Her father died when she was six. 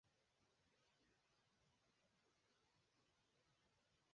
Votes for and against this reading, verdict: 0, 4, rejected